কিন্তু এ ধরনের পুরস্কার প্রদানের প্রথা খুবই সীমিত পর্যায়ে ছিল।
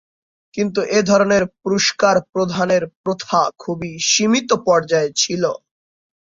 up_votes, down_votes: 2, 3